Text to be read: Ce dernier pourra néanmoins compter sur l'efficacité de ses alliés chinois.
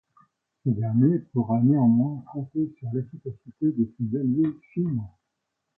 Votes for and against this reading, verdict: 2, 0, accepted